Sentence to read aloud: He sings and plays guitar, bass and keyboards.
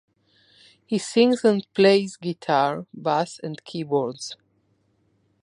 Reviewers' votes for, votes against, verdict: 1, 2, rejected